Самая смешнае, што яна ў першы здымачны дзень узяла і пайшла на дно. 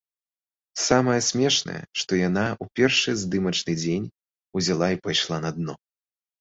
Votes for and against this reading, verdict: 1, 2, rejected